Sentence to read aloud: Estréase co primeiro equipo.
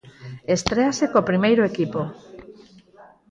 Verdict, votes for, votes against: rejected, 2, 4